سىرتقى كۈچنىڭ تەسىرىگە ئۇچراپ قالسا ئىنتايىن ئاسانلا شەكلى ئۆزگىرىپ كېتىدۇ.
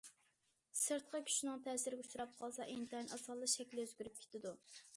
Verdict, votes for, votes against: accepted, 2, 0